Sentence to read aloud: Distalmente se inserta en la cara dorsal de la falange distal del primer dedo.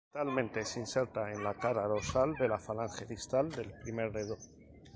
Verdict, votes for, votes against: rejected, 0, 2